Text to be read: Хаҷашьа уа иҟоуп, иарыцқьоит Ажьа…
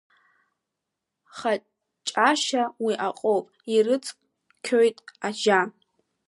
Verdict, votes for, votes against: rejected, 1, 2